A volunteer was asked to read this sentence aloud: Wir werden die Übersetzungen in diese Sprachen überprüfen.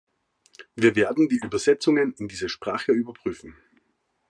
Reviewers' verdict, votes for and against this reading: rejected, 1, 2